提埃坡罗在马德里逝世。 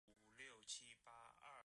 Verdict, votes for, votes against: rejected, 2, 3